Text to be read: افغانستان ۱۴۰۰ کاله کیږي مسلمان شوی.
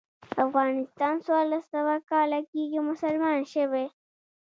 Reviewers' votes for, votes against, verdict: 0, 2, rejected